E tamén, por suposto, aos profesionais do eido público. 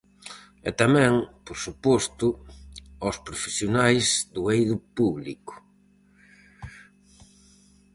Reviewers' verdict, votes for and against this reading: accepted, 4, 0